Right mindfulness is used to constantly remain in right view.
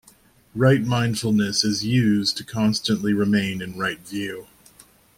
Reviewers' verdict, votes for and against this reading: accepted, 2, 0